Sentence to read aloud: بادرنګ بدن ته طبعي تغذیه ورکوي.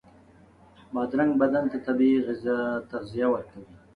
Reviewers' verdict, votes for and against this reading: rejected, 1, 2